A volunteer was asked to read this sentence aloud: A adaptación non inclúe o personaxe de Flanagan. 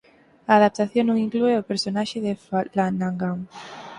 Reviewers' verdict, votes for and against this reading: rejected, 4, 6